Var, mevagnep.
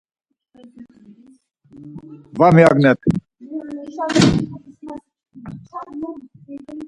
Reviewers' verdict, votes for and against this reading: rejected, 2, 4